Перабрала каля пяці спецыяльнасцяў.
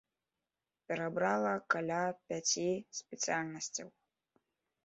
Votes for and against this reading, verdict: 3, 0, accepted